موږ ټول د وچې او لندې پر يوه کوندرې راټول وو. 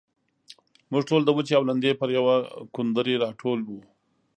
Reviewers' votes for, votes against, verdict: 2, 0, accepted